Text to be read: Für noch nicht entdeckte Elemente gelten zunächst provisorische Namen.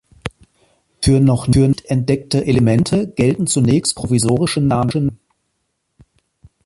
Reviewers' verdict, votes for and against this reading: rejected, 0, 2